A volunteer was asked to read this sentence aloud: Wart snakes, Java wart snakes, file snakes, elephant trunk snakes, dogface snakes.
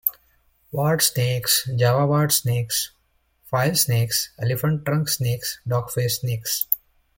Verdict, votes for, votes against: accepted, 2, 0